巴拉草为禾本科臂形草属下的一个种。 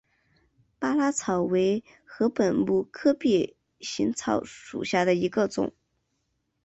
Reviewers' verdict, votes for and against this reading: accepted, 7, 0